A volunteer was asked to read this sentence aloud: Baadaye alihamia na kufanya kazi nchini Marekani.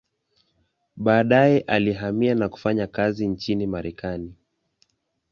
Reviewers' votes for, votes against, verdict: 2, 0, accepted